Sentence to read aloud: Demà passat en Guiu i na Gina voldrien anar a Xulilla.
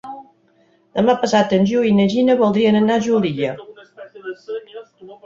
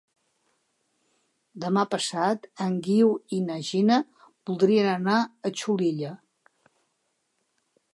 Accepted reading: second